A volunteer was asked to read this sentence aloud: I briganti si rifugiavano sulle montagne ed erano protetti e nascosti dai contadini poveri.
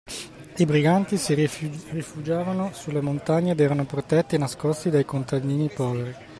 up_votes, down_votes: 0, 2